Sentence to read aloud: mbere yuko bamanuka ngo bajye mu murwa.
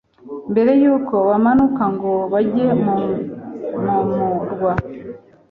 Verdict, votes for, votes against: rejected, 1, 2